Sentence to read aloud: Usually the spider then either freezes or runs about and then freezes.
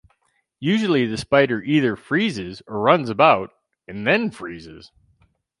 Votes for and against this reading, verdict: 0, 4, rejected